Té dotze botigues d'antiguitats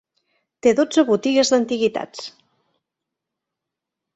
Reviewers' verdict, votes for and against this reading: accepted, 3, 0